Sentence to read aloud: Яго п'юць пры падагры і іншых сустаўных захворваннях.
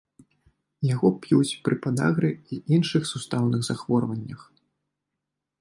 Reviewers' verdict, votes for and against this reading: accepted, 2, 0